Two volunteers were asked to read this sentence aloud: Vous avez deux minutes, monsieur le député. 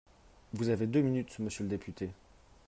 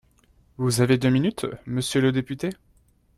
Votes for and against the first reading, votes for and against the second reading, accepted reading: 3, 0, 0, 2, first